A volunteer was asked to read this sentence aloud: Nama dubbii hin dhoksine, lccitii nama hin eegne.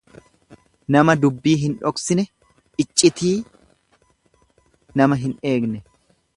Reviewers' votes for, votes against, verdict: 2, 0, accepted